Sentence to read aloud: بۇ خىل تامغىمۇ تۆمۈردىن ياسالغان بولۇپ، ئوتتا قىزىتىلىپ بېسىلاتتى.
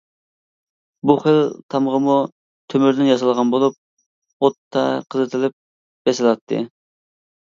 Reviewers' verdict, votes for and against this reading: accepted, 2, 0